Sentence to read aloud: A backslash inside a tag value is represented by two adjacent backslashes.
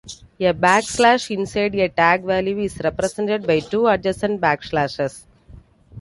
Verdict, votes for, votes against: accepted, 2, 0